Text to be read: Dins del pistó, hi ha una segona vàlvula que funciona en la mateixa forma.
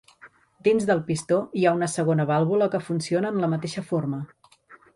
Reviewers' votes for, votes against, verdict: 3, 0, accepted